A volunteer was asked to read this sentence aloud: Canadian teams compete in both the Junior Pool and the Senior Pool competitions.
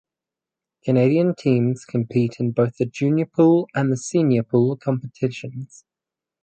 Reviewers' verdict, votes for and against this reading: accepted, 4, 0